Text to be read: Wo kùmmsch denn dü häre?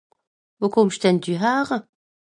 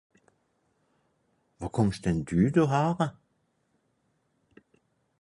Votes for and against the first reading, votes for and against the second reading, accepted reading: 2, 0, 0, 4, first